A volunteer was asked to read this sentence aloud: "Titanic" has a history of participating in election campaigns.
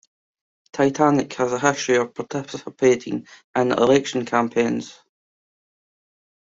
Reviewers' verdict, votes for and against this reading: rejected, 1, 2